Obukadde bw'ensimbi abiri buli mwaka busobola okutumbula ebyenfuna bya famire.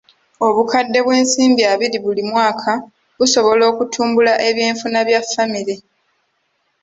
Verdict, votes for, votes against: accepted, 2, 0